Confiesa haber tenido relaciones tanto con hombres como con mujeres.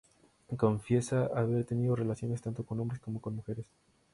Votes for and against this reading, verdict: 0, 2, rejected